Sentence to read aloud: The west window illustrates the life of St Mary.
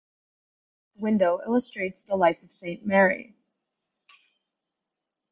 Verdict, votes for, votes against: rejected, 2, 2